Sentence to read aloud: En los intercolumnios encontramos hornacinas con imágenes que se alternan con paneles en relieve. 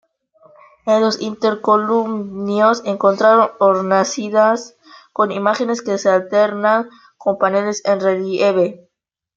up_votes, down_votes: 1, 2